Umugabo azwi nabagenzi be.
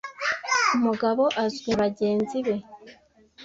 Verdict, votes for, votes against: rejected, 1, 2